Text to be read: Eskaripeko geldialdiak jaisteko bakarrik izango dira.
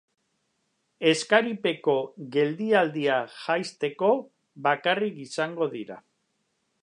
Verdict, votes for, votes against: rejected, 1, 2